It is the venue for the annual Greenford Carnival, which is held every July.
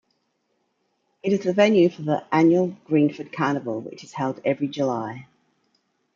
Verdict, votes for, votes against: accepted, 2, 0